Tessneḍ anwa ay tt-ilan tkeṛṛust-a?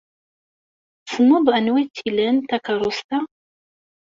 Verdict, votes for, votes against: rejected, 1, 2